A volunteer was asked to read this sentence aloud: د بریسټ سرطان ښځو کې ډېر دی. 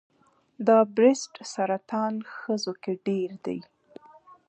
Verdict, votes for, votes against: accepted, 2, 1